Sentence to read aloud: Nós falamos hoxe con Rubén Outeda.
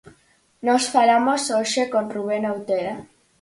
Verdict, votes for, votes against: accepted, 4, 0